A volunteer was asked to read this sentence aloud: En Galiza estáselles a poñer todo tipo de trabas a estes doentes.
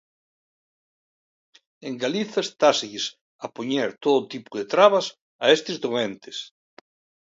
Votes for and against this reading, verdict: 2, 0, accepted